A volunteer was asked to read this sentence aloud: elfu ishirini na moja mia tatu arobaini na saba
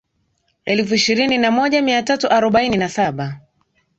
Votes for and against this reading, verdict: 2, 0, accepted